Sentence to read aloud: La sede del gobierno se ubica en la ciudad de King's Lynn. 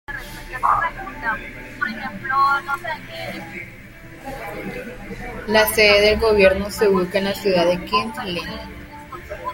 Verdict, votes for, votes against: rejected, 0, 2